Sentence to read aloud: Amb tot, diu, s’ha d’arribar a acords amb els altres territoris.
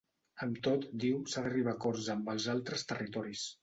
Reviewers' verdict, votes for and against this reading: accepted, 2, 0